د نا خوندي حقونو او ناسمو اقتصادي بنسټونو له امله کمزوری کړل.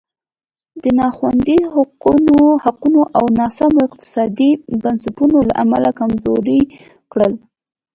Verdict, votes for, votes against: rejected, 1, 2